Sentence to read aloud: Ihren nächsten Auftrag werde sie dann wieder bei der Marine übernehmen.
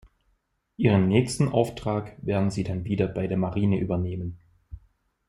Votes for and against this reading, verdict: 0, 2, rejected